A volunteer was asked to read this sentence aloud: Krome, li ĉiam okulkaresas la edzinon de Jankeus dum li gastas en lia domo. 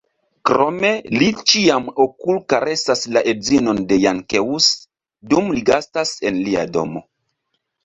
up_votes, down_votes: 2, 0